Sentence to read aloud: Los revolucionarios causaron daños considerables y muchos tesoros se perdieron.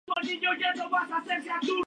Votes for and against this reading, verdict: 0, 2, rejected